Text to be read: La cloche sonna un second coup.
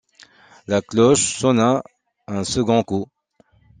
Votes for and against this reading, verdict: 2, 0, accepted